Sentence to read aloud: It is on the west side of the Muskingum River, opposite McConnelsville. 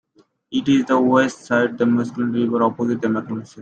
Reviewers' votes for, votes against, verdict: 0, 2, rejected